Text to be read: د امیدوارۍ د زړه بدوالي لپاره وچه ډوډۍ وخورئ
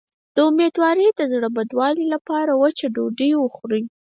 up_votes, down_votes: 2, 4